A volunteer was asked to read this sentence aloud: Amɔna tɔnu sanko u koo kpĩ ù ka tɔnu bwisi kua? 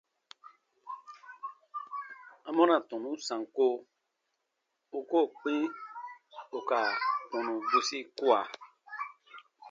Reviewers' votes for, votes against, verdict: 2, 0, accepted